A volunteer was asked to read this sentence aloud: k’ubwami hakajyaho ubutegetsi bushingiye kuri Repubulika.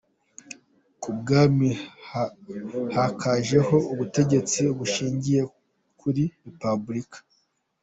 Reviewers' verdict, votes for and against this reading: rejected, 0, 2